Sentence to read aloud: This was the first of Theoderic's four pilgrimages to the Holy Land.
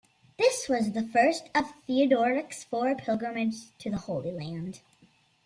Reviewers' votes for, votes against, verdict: 2, 0, accepted